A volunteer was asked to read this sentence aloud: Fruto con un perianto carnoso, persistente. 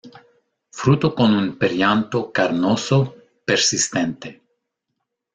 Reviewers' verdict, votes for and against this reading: accepted, 2, 0